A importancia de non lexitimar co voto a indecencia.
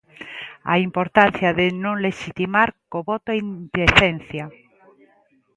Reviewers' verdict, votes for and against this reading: accepted, 2, 0